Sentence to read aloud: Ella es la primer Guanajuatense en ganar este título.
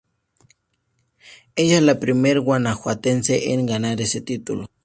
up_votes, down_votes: 2, 0